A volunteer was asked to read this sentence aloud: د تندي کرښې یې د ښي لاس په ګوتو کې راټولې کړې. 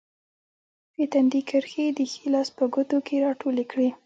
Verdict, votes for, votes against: accepted, 2, 0